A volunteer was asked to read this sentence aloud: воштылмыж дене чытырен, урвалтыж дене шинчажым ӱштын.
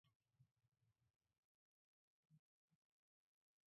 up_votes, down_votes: 0, 2